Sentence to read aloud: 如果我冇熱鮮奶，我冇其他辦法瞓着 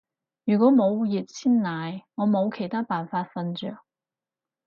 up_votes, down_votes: 0, 2